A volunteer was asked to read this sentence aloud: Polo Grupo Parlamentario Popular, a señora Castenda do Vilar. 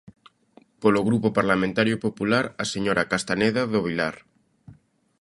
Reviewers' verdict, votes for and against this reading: rejected, 0, 2